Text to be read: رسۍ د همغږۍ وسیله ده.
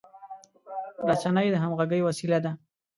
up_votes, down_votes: 0, 2